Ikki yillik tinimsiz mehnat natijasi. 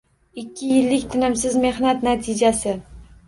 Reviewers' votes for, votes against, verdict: 2, 0, accepted